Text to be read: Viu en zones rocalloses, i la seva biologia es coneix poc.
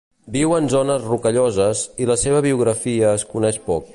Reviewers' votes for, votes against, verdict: 1, 2, rejected